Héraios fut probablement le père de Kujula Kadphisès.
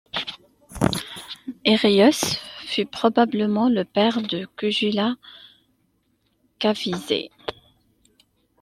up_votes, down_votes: 2, 0